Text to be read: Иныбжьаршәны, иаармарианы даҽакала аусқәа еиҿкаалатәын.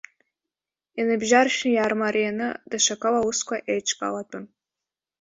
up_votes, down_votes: 1, 2